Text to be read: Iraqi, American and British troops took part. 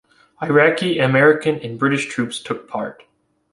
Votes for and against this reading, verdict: 2, 0, accepted